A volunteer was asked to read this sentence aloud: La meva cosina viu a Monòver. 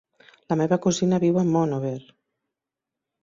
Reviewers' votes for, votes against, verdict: 1, 2, rejected